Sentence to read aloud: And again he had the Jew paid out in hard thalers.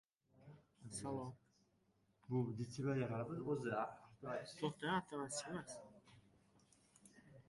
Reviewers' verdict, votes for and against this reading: rejected, 0, 2